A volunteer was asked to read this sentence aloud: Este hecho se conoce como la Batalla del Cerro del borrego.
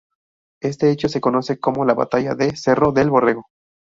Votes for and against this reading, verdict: 0, 2, rejected